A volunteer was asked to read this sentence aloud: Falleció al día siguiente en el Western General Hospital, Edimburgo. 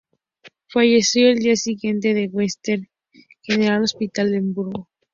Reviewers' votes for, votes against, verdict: 2, 4, rejected